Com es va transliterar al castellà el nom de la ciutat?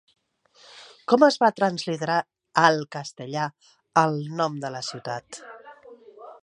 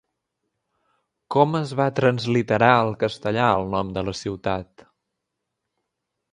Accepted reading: second